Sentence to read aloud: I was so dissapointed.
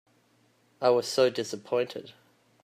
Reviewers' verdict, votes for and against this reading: accepted, 2, 0